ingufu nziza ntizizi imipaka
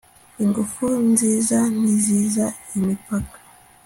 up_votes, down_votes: 2, 0